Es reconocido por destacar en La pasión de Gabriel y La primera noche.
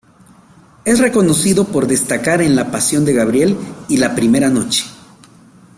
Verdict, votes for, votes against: accepted, 2, 0